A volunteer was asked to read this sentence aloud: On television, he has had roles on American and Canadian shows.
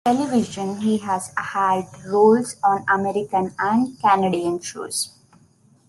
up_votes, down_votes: 1, 2